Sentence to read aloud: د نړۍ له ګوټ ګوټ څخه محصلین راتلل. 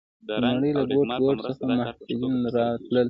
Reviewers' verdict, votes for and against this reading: rejected, 1, 2